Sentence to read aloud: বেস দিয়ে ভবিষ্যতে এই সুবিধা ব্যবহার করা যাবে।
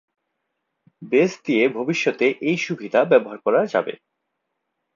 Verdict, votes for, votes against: accepted, 4, 0